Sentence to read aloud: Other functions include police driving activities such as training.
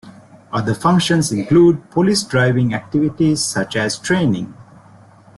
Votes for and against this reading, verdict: 2, 0, accepted